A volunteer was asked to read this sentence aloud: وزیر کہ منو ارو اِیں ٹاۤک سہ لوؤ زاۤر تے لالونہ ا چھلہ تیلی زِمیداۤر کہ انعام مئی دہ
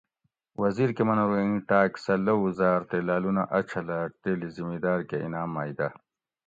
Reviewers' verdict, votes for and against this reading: accepted, 2, 0